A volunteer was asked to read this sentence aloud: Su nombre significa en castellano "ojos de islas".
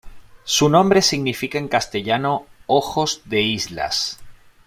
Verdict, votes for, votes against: accepted, 2, 0